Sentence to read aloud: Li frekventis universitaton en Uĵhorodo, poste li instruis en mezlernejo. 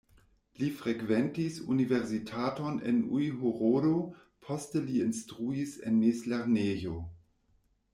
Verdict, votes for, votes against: rejected, 1, 2